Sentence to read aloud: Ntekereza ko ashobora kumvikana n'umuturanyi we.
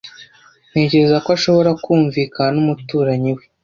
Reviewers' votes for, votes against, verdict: 2, 0, accepted